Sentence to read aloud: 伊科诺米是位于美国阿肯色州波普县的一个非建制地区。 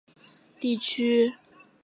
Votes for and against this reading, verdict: 0, 4, rejected